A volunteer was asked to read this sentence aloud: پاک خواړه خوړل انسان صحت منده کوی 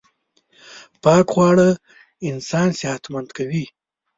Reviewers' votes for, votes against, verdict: 1, 2, rejected